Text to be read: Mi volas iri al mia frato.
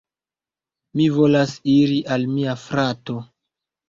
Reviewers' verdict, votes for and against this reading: accepted, 2, 0